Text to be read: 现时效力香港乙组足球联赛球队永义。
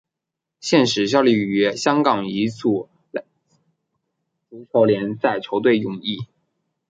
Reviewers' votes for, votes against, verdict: 1, 2, rejected